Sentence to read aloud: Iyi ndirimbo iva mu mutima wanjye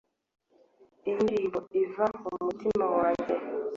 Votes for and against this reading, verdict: 2, 0, accepted